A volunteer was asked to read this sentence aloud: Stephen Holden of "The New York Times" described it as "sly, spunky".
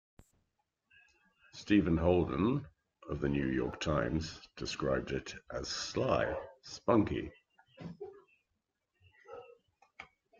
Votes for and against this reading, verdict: 2, 0, accepted